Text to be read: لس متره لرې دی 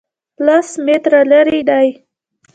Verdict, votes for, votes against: rejected, 0, 2